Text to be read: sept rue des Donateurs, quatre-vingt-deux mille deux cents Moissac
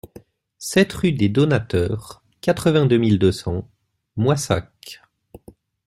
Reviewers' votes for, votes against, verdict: 2, 0, accepted